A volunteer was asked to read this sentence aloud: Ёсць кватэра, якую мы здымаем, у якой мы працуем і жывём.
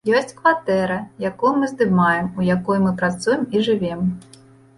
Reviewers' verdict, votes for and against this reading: rejected, 0, 2